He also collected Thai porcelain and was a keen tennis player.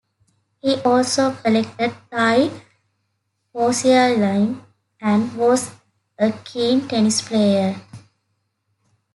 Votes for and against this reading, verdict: 0, 2, rejected